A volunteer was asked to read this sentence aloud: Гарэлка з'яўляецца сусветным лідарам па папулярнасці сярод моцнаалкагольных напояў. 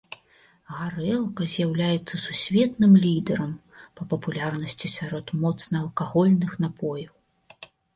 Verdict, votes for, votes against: accepted, 2, 0